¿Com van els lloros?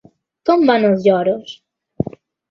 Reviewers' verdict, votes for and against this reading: accepted, 4, 1